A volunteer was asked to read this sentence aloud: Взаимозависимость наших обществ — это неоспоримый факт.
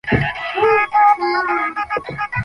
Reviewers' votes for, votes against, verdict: 0, 2, rejected